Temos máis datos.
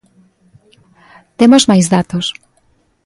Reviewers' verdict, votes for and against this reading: accepted, 2, 0